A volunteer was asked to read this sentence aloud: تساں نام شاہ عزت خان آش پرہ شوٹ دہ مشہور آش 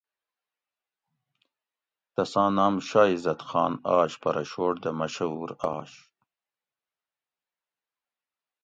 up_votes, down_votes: 2, 0